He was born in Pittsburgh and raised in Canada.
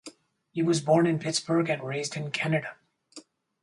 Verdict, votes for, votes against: accepted, 4, 0